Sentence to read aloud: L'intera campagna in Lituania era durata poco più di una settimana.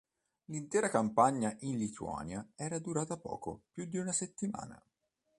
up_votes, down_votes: 3, 0